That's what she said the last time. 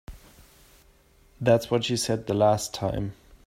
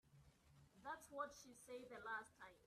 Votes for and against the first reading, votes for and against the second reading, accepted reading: 2, 0, 1, 2, first